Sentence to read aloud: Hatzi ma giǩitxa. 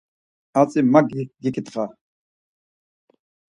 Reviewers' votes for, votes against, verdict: 4, 0, accepted